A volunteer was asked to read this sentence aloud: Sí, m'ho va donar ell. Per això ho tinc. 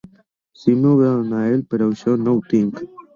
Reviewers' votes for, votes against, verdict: 0, 3, rejected